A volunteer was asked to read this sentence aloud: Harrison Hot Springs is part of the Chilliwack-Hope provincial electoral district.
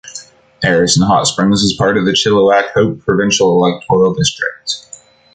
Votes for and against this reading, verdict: 3, 0, accepted